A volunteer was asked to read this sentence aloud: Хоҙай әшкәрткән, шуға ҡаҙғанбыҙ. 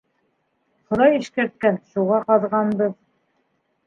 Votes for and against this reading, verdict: 0, 2, rejected